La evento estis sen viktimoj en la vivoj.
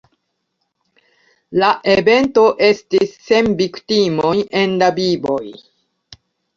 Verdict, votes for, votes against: accepted, 2, 0